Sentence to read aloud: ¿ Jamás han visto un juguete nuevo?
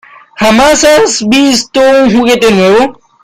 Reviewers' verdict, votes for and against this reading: rejected, 1, 2